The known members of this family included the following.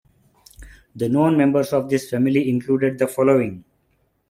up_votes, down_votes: 3, 1